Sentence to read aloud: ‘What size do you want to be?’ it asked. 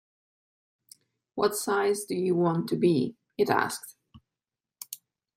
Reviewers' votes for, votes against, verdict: 2, 0, accepted